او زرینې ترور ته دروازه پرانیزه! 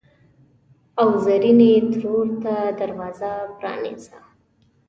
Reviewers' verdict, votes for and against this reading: accepted, 2, 0